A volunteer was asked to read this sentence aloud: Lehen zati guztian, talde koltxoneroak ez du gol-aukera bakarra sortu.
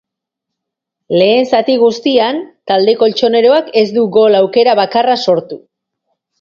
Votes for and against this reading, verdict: 5, 0, accepted